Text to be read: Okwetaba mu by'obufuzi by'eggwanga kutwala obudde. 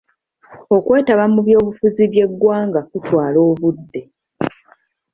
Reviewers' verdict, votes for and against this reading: accepted, 2, 0